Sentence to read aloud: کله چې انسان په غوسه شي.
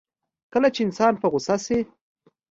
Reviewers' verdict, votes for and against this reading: accepted, 2, 0